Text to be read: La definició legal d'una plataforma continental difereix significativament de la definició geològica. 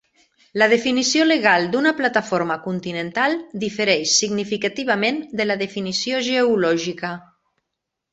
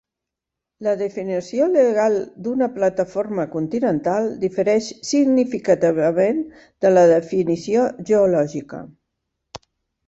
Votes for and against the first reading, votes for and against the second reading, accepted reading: 2, 0, 0, 3, first